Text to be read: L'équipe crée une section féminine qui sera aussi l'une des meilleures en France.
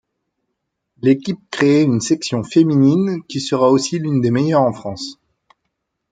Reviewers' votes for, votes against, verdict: 1, 2, rejected